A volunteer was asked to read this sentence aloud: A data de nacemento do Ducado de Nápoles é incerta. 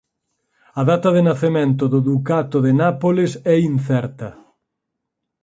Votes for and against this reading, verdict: 0, 4, rejected